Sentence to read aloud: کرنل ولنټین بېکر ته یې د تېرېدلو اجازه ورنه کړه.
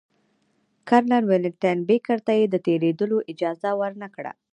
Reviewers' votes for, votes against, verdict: 2, 0, accepted